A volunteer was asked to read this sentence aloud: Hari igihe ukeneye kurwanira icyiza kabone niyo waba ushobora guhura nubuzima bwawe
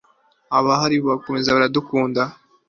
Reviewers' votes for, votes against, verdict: 0, 2, rejected